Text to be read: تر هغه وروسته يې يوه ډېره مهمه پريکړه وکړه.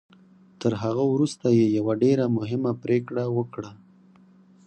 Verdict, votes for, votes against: rejected, 2, 4